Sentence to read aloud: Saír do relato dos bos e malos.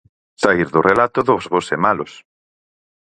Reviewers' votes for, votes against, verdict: 4, 0, accepted